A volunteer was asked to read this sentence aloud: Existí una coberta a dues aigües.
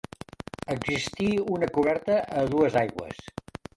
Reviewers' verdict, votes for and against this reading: rejected, 0, 2